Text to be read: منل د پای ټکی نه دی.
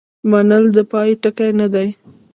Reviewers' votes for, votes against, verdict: 0, 2, rejected